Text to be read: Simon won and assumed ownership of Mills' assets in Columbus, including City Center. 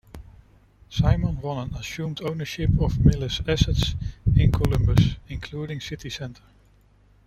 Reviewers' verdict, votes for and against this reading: accepted, 2, 0